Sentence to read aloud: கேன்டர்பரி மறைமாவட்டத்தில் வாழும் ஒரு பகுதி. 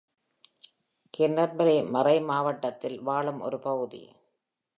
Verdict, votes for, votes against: accepted, 2, 0